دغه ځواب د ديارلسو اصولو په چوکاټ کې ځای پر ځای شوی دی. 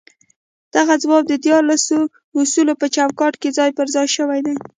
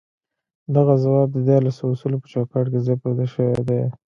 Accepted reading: second